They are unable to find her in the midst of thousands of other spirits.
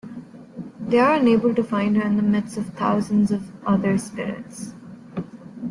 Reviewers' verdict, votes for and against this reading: accepted, 2, 0